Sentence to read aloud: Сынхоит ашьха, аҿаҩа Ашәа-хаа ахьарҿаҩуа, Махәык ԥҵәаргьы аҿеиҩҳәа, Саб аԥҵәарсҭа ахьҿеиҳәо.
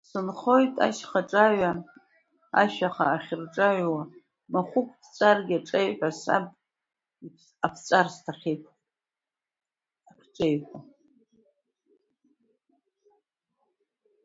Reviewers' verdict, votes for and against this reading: rejected, 0, 2